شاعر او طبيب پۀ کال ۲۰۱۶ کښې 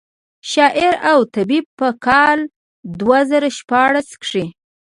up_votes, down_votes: 0, 2